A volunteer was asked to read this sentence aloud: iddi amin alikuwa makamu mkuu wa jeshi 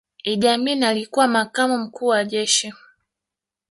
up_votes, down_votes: 2, 1